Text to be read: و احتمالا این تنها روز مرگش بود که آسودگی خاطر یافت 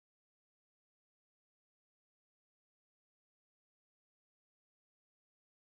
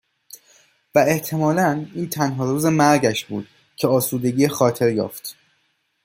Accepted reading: second